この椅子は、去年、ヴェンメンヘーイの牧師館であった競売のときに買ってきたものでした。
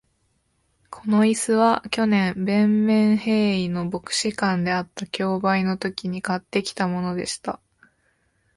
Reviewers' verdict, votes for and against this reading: accepted, 2, 0